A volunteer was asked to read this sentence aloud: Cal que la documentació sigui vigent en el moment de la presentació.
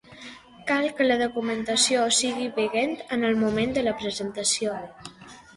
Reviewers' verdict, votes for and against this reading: rejected, 0, 2